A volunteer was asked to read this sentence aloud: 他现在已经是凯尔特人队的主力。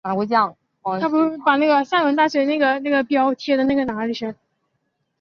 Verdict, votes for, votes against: rejected, 2, 3